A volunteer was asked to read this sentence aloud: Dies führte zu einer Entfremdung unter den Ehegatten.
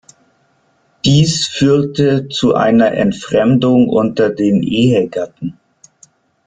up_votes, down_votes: 1, 2